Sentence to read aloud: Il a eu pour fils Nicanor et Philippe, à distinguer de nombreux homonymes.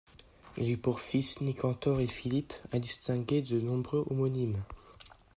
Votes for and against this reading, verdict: 2, 0, accepted